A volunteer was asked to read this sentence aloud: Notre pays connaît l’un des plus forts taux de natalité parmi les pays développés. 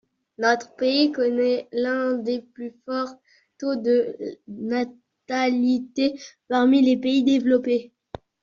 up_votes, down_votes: 1, 2